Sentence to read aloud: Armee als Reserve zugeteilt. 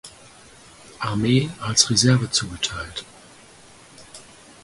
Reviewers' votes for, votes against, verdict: 4, 0, accepted